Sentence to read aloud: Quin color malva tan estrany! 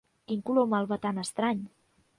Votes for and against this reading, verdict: 2, 0, accepted